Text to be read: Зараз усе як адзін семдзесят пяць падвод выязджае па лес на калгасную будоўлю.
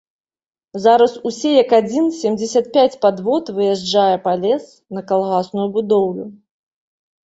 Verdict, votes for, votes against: accepted, 2, 0